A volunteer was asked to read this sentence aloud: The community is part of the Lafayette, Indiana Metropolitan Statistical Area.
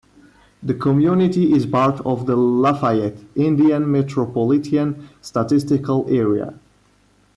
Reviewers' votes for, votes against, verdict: 2, 1, accepted